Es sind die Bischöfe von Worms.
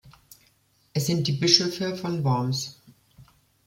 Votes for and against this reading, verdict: 2, 0, accepted